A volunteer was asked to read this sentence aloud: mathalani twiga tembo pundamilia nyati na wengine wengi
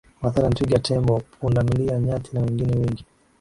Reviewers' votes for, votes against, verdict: 2, 0, accepted